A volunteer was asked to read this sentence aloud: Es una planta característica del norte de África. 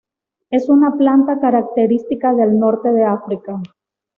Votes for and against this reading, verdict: 2, 0, accepted